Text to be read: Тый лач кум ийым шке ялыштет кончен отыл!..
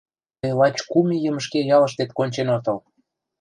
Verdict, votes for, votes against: rejected, 1, 2